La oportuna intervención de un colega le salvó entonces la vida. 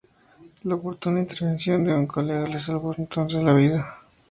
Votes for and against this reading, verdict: 4, 0, accepted